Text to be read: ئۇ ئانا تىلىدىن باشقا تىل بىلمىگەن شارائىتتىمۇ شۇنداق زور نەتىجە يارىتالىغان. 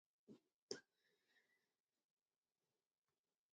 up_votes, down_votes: 0, 2